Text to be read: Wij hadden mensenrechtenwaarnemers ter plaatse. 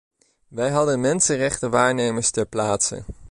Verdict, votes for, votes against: accepted, 2, 0